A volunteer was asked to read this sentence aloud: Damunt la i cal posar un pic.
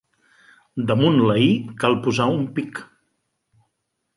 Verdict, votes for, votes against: accepted, 2, 0